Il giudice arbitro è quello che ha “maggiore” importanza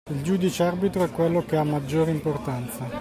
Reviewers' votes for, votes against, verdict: 2, 0, accepted